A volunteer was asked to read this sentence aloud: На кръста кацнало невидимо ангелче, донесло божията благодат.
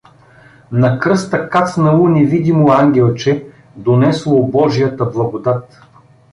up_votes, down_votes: 2, 0